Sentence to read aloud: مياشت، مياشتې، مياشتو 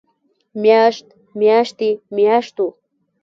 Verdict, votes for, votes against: rejected, 0, 2